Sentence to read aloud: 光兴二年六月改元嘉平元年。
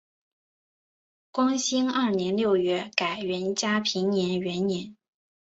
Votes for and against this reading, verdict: 3, 0, accepted